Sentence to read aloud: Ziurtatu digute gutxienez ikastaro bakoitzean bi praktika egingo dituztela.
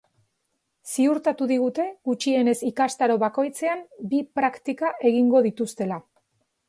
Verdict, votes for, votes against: accepted, 2, 0